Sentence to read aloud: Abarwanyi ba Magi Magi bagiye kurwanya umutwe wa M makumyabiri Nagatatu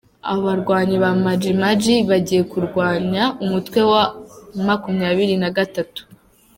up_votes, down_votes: 0, 2